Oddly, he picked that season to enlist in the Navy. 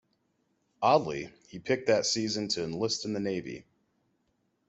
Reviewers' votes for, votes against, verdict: 2, 0, accepted